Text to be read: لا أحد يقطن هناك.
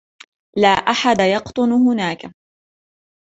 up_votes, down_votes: 2, 1